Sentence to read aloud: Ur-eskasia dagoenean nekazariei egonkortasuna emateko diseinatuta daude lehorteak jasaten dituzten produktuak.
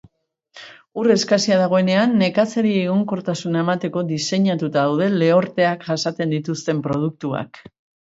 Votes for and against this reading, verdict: 2, 0, accepted